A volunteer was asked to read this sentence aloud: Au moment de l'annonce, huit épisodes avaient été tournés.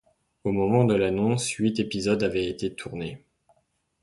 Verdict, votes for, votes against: accepted, 3, 0